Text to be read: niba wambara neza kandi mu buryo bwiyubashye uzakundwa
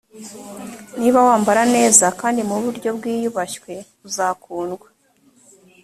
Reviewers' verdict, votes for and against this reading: rejected, 2, 3